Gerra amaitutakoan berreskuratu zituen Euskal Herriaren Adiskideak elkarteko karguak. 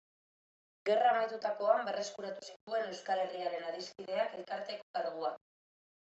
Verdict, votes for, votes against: accepted, 2, 1